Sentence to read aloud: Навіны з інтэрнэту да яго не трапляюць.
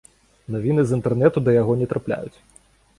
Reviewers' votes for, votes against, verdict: 2, 0, accepted